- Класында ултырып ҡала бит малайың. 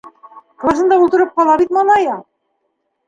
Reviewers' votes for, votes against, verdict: 2, 0, accepted